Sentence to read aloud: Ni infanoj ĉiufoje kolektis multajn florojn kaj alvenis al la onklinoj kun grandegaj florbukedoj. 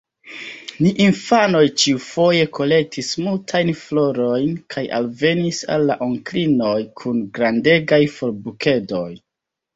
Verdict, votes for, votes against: accepted, 2, 1